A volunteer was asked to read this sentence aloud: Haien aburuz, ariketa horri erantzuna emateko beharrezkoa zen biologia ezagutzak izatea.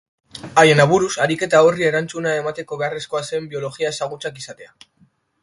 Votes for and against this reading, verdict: 4, 1, accepted